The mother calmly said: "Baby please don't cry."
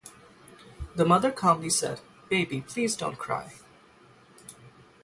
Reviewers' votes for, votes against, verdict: 3, 0, accepted